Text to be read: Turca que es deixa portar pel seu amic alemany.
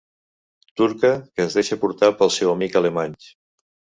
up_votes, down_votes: 1, 2